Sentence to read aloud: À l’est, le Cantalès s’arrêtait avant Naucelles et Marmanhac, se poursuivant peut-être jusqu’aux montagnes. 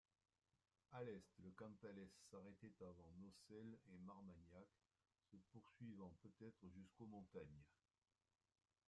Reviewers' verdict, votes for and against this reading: rejected, 0, 2